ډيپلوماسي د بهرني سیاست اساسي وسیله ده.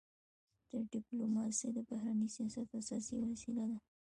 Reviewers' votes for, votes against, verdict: 2, 1, accepted